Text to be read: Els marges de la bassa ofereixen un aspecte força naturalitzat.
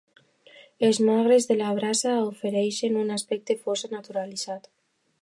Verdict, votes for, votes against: rejected, 1, 2